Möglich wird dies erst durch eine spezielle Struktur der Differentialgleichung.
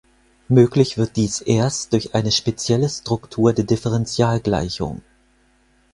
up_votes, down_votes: 4, 0